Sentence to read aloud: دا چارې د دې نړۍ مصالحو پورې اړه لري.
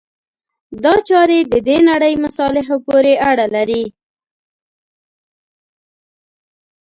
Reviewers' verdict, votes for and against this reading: accepted, 2, 0